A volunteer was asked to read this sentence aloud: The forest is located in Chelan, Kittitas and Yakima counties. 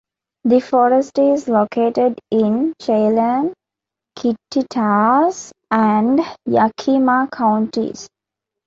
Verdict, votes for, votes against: accepted, 2, 0